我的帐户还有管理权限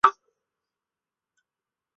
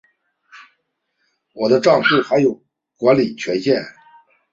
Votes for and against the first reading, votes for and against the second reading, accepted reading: 0, 4, 2, 0, second